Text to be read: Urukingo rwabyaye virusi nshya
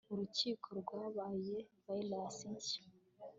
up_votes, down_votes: 1, 2